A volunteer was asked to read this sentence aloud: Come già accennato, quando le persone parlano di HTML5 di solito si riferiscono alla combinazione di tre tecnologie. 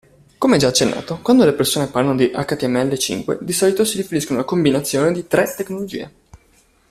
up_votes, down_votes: 0, 2